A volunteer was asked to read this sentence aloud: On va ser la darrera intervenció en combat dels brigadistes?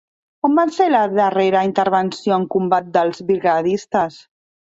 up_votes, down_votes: 0, 2